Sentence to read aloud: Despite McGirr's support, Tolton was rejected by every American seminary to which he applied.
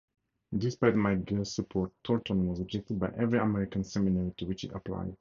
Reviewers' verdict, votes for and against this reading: rejected, 2, 2